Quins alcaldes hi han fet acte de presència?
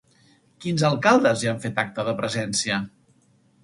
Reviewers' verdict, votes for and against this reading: accepted, 2, 0